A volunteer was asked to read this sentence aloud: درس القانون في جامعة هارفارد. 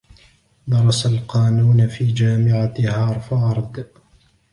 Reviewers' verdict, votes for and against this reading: rejected, 1, 2